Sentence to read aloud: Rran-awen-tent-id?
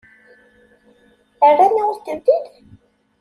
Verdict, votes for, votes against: accepted, 2, 0